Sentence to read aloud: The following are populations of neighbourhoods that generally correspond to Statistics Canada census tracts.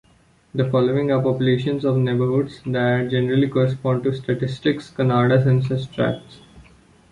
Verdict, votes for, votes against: accepted, 2, 0